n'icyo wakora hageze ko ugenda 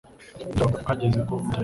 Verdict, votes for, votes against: rejected, 1, 2